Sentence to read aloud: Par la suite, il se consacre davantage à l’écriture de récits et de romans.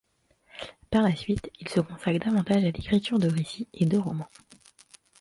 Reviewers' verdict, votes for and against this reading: accepted, 2, 0